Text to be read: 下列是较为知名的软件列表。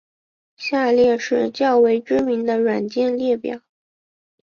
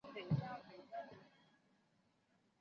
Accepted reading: first